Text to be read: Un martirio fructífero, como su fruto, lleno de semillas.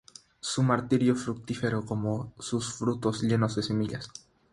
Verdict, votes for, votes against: rejected, 0, 3